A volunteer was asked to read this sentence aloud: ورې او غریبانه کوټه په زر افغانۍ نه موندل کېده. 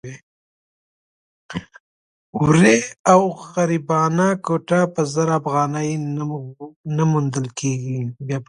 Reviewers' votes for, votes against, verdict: 0, 2, rejected